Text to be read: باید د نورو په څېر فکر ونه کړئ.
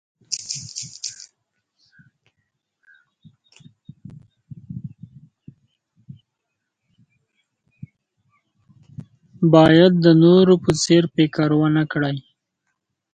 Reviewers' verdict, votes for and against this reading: rejected, 0, 2